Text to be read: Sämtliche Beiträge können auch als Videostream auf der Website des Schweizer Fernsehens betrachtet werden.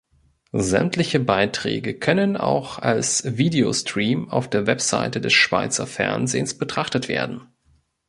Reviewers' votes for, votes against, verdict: 3, 0, accepted